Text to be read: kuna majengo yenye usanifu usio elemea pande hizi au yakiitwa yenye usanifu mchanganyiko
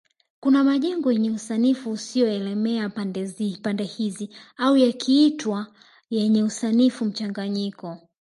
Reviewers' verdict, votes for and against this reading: accepted, 2, 1